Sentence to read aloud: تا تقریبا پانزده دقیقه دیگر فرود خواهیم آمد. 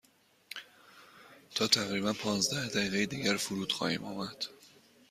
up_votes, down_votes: 2, 0